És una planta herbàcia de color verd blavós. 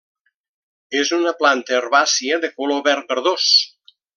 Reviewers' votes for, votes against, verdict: 0, 2, rejected